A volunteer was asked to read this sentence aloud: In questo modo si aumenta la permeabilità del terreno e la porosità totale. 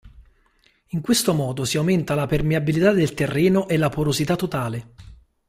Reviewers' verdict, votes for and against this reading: accepted, 2, 0